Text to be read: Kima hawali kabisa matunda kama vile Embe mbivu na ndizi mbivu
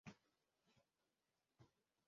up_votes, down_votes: 1, 2